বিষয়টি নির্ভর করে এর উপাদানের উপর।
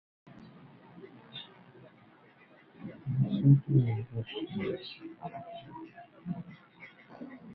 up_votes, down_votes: 0, 2